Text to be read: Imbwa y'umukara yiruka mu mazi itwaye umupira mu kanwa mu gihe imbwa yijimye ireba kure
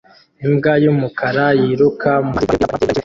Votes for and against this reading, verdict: 0, 2, rejected